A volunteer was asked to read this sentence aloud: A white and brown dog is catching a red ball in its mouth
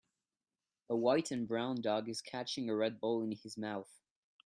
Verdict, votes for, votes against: rejected, 1, 2